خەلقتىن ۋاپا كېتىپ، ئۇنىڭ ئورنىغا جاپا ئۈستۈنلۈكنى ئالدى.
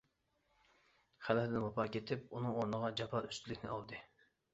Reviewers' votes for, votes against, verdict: 1, 2, rejected